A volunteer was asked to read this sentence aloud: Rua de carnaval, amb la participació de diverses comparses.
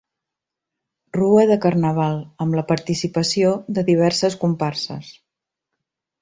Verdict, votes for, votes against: accepted, 2, 0